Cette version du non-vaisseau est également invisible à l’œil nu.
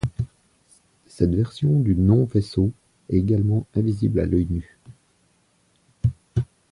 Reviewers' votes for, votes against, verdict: 1, 2, rejected